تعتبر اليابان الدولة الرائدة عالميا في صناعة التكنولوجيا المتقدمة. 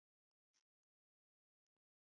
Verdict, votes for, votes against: rejected, 0, 2